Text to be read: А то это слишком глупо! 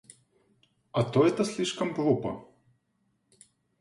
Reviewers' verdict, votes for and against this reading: accepted, 2, 0